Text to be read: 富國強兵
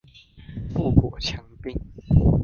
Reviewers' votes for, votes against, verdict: 1, 2, rejected